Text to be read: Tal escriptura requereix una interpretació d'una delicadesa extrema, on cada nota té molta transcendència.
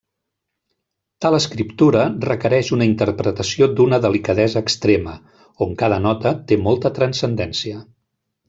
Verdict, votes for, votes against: accepted, 2, 0